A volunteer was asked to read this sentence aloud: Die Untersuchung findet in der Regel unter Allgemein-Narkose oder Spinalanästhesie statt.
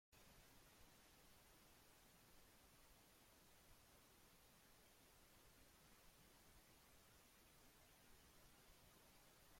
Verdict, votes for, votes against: rejected, 0, 2